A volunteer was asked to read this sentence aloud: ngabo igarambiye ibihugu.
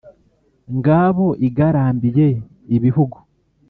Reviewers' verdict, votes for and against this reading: accepted, 2, 0